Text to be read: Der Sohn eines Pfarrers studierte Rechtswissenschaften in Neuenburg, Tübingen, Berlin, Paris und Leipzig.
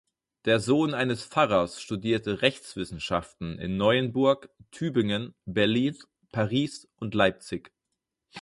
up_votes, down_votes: 2, 4